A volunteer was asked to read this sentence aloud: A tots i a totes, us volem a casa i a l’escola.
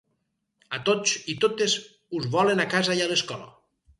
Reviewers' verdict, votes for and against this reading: rejected, 2, 4